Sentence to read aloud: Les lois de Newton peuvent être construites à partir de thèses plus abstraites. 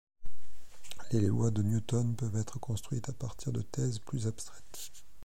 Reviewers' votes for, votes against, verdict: 2, 0, accepted